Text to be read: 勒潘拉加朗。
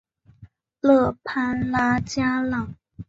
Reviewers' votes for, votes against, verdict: 2, 0, accepted